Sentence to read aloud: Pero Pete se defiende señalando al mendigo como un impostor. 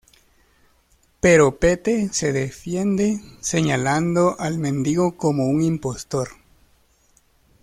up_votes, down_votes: 2, 1